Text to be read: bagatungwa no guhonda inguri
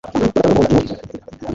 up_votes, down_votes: 2, 0